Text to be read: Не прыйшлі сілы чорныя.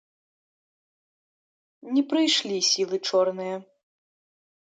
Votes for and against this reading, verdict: 2, 0, accepted